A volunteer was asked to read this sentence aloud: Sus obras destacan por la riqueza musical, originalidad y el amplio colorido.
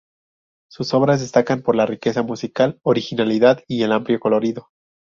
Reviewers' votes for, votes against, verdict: 4, 0, accepted